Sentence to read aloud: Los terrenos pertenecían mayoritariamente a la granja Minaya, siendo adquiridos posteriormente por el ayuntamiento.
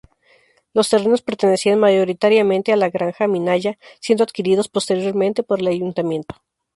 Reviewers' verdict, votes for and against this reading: accepted, 2, 0